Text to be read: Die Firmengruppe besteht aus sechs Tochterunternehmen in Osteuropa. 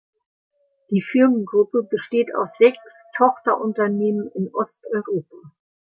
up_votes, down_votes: 2, 0